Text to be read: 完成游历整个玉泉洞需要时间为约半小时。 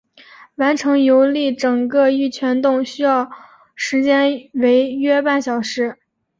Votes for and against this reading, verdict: 3, 0, accepted